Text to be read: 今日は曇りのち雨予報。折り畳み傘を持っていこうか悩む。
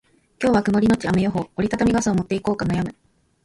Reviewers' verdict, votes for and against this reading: rejected, 0, 2